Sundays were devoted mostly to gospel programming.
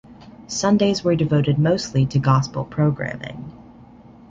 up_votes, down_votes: 2, 0